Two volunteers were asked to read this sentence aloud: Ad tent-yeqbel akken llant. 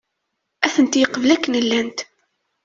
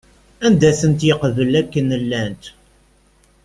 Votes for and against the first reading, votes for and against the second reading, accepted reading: 2, 0, 1, 2, first